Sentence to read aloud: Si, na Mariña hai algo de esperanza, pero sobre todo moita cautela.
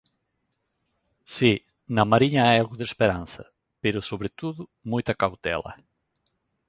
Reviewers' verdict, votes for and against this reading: accepted, 2, 0